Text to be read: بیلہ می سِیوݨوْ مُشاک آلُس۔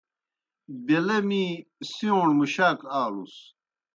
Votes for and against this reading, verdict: 2, 0, accepted